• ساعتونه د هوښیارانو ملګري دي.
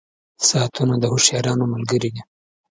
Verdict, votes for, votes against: accepted, 3, 0